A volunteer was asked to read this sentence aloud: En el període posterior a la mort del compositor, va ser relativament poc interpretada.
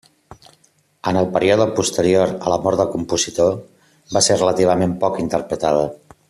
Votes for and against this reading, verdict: 2, 0, accepted